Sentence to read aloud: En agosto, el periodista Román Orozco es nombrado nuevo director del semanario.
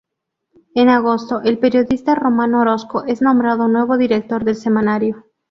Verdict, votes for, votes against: rejected, 2, 2